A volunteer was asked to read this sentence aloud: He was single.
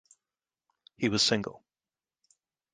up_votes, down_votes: 2, 0